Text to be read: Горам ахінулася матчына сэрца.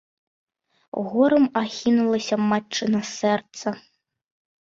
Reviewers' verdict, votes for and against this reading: accepted, 2, 0